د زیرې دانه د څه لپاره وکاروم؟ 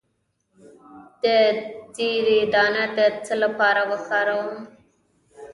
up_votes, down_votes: 1, 2